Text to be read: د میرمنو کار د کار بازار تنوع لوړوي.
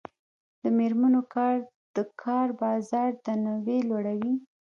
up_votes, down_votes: 1, 2